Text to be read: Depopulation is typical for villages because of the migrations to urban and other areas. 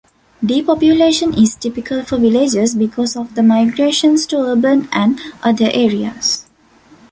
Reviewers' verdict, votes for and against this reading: accepted, 2, 0